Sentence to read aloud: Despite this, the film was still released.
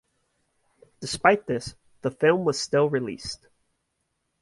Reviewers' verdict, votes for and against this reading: accepted, 2, 0